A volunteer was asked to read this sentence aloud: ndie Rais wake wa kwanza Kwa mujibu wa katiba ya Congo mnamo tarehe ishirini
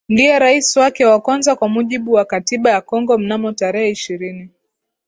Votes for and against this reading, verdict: 2, 2, rejected